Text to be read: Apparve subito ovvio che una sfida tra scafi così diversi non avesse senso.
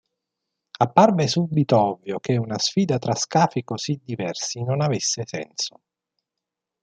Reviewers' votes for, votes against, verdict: 2, 0, accepted